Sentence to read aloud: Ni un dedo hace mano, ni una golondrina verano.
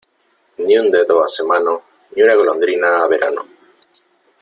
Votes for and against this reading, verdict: 3, 0, accepted